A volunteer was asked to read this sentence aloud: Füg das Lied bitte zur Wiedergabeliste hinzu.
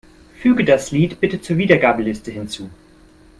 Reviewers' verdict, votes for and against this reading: accepted, 2, 1